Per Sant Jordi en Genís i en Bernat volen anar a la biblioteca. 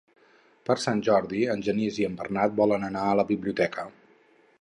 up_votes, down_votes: 6, 0